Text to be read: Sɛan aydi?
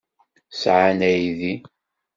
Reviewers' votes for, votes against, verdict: 1, 2, rejected